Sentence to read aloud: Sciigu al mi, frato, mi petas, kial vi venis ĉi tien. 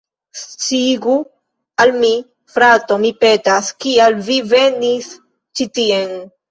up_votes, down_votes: 1, 2